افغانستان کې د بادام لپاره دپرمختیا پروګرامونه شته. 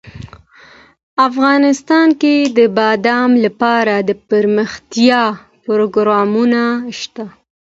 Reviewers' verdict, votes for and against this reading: accepted, 2, 0